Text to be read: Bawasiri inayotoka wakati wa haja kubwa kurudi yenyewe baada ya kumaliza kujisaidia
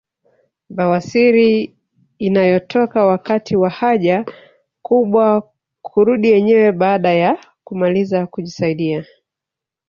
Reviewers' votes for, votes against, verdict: 1, 2, rejected